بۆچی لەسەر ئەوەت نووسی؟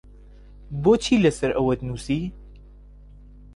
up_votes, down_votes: 2, 0